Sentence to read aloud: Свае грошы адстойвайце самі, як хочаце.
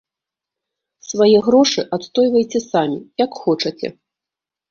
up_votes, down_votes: 2, 0